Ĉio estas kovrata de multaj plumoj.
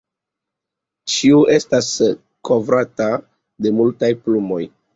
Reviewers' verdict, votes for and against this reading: rejected, 1, 2